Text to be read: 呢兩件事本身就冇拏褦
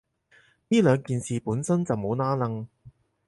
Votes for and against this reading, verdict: 4, 0, accepted